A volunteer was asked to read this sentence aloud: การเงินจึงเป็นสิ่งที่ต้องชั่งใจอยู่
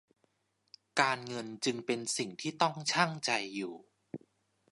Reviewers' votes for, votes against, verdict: 2, 0, accepted